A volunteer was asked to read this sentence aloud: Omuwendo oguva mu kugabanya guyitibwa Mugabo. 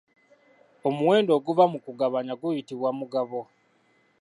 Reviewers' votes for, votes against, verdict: 2, 3, rejected